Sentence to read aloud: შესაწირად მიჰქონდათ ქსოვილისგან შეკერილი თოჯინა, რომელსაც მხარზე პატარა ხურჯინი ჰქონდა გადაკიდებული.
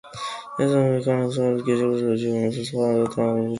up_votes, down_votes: 1, 2